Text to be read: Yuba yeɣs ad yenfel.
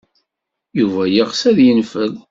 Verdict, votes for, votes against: accepted, 2, 0